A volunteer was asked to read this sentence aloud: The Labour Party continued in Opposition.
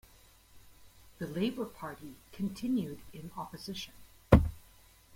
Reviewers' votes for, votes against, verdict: 2, 1, accepted